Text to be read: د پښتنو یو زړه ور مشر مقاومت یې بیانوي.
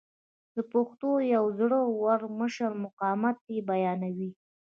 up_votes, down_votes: 0, 2